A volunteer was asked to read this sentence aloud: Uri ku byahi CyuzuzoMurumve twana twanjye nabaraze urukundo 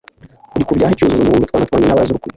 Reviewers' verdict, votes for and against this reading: rejected, 0, 2